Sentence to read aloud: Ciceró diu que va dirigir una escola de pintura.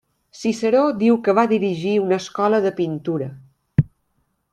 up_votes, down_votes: 3, 0